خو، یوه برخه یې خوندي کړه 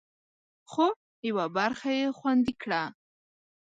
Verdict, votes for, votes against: accepted, 2, 0